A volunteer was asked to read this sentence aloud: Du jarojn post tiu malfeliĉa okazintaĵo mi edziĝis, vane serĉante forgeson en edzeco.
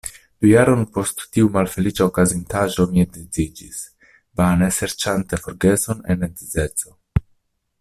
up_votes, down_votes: 0, 2